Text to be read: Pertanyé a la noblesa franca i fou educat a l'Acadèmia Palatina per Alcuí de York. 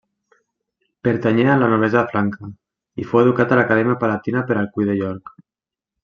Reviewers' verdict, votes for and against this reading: accepted, 2, 0